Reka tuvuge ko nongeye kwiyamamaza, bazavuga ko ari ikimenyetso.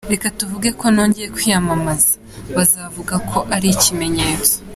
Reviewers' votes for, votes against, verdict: 2, 0, accepted